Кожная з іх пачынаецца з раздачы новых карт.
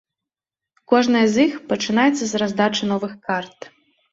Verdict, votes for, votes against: rejected, 1, 2